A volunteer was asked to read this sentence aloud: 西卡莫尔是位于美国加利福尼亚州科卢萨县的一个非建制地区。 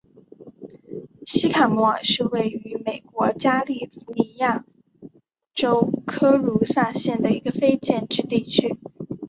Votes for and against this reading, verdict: 3, 0, accepted